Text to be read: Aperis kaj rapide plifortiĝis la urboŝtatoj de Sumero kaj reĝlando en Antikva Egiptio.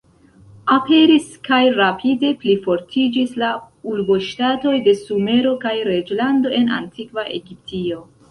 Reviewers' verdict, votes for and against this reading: rejected, 1, 2